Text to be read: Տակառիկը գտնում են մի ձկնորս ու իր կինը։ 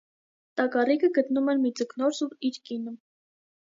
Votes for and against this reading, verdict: 2, 0, accepted